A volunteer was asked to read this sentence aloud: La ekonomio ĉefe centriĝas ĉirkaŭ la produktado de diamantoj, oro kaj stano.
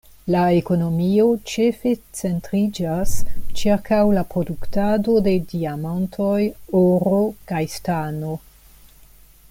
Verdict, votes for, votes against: accepted, 2, 0